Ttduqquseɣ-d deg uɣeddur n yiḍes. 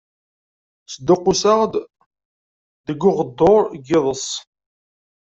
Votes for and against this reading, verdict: 0, 2, rejected